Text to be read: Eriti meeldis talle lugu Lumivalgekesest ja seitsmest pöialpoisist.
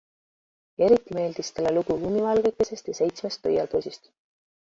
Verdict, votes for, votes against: accepted, 2, 0